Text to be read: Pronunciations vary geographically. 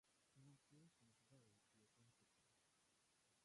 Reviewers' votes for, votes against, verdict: 0, 2, rejected